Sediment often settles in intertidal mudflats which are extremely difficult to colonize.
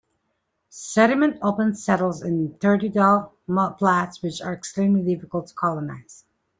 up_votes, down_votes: 0, 2